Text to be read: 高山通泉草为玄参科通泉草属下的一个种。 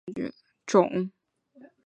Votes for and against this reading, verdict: 0, 3, rejected